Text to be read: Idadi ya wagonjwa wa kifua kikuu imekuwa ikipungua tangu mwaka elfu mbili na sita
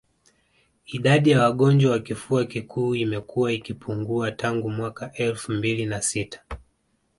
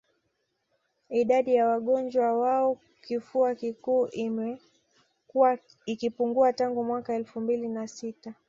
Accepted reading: second